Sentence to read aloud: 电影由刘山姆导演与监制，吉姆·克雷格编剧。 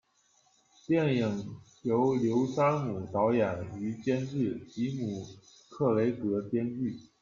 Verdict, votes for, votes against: accepted, 2, 0